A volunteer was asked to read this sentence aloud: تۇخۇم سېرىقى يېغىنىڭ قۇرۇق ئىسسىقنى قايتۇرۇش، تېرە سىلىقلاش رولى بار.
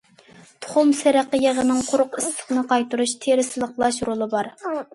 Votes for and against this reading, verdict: 2, 0, accepted